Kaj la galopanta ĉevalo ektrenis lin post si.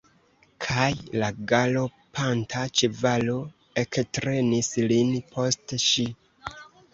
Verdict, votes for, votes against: accepted, 2, 1